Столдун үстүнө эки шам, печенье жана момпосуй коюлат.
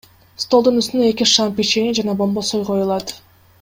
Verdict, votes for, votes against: rejected, 1, 2